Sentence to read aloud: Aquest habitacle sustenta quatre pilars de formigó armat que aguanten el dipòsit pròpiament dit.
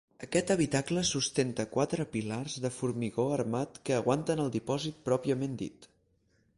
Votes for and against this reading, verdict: 4, 0, accepted